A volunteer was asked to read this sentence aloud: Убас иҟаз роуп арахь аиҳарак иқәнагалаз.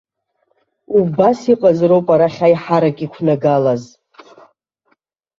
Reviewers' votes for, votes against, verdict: 2, 0, accepted